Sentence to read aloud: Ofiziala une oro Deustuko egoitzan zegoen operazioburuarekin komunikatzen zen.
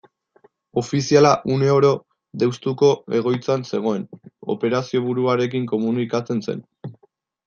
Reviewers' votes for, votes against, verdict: 0, 2, rejected